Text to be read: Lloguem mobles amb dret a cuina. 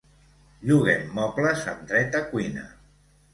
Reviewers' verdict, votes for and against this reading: accepted, 2, 0